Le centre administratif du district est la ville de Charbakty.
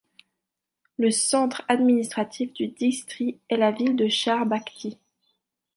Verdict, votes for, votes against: rejected, 1, 3